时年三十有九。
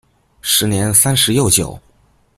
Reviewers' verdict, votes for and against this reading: rejected, 0, 2